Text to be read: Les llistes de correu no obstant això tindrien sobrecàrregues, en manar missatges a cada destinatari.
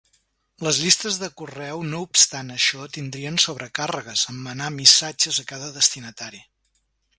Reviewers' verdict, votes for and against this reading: accepted, 2, 0